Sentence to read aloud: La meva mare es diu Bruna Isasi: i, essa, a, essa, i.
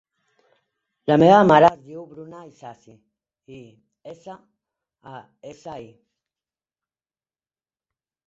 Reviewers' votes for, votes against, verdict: 0, 2, rejected